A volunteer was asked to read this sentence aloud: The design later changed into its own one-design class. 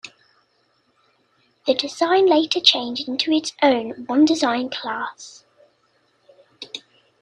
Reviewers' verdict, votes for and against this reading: accepted, 2, 0